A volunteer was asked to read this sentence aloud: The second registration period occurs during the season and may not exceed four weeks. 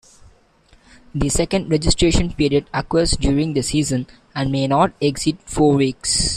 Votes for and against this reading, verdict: 2, 1, accepted